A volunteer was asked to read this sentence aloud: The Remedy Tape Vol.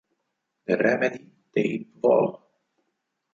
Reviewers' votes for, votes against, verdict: 0, 4, rejected